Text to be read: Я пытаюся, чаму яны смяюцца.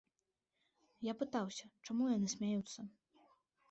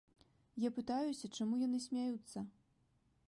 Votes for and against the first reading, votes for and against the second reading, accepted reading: 0, 2, 2, 0, second